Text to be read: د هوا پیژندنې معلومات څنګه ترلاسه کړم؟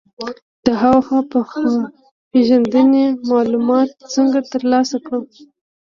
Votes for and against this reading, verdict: 1, 2, rejected